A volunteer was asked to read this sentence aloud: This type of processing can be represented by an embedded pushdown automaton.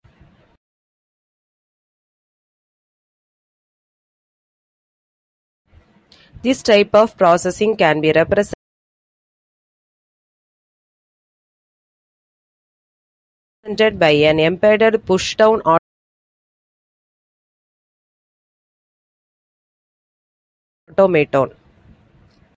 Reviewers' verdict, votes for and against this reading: rejected, 0, 2